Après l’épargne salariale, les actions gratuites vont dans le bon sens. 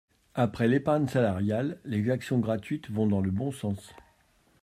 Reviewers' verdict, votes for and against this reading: accepted, 2, 0